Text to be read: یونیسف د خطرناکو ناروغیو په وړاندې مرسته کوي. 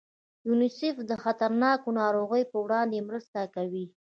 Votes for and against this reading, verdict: 1, 2, rejected